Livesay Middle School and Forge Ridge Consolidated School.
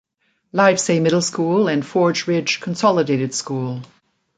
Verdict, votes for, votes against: accepted, 2, 0